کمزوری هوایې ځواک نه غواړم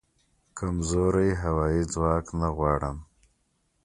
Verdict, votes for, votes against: accepted, 2, 0